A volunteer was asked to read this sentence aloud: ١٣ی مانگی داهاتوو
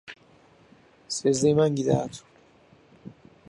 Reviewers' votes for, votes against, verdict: 0, 2, rejected